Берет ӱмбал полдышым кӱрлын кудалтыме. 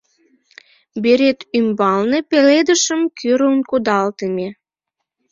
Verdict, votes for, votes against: rejected, 0, 2